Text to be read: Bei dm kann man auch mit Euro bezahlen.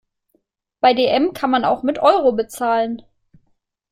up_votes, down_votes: 2, 0